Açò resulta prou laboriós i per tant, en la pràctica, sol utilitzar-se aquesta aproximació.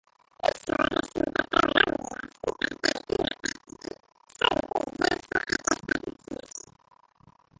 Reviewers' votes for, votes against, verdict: 1, 2, rejected